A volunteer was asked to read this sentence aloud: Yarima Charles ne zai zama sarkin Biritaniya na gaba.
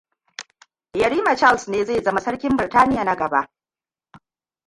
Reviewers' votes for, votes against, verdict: 0, 2, rejected